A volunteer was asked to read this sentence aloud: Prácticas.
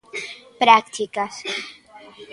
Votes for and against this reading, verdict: 1, 2, rejected